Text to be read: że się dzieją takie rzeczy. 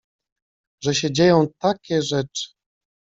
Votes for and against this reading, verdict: 2, 0, accepted